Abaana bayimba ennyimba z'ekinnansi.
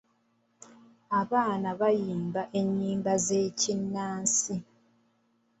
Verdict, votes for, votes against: rejected, 1, 2